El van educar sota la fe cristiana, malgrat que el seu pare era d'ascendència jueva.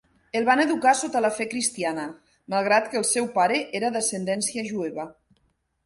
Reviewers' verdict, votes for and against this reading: accepted, 5, 0